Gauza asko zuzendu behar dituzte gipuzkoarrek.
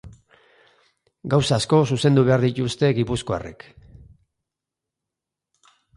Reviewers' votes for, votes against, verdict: 2, 0, accepted